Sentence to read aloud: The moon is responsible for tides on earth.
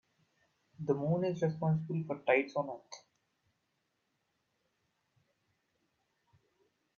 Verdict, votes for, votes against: rejected, 0, 2